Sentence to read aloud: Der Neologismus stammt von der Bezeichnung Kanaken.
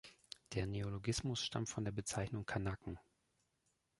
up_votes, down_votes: 1, 2